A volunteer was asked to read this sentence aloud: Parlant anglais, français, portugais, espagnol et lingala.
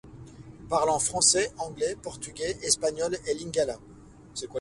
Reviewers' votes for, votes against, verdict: 0, 2, rejected